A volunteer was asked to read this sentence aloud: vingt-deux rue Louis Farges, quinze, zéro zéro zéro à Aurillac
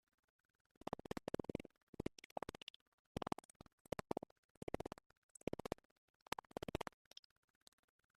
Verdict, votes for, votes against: rejected, 0, 2